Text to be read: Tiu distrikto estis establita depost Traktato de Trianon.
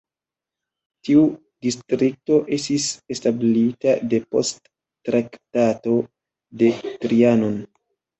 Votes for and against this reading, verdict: 2, 1, accepted